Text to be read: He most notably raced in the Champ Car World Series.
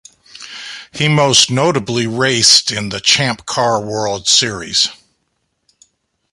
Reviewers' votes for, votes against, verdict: 2, 0, accepted